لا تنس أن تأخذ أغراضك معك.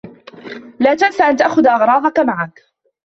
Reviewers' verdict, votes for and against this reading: accepted, 2, 0